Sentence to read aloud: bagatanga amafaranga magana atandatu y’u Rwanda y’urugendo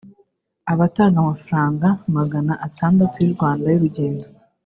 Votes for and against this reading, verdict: 2, 0, accepted